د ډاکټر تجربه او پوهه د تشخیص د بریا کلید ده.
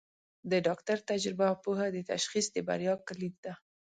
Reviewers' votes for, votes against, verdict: 2, 0, accepted